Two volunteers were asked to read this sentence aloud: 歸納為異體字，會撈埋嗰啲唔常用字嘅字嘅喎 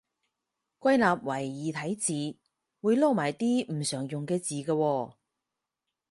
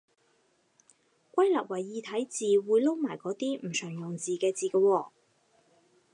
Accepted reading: second